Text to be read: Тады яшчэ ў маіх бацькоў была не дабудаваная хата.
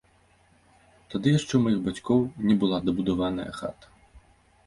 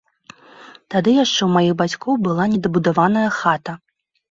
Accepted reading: second